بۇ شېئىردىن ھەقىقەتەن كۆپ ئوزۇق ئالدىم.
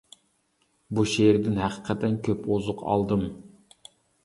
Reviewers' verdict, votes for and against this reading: accepted, 2, 0